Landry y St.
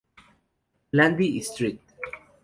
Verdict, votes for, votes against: rejected, 0, 2